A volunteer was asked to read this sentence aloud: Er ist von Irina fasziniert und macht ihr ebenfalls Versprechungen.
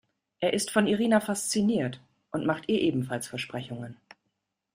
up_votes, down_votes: 2, 0